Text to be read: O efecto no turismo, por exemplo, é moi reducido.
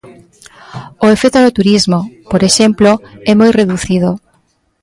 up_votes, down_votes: 4, 1